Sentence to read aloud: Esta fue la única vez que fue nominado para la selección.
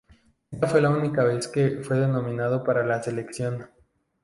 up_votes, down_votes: 0, 2